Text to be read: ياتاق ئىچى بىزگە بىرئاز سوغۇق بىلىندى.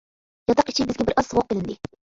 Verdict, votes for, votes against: accepted, 2, 1